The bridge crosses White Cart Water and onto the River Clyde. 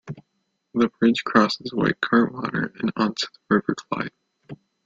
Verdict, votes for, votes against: rejected, 1, 2